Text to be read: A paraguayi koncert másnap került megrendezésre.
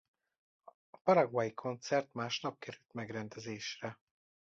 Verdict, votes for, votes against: rejected, 1, 2